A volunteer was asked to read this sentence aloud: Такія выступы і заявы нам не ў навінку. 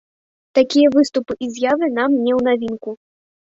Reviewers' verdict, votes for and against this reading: rejected, 0, 2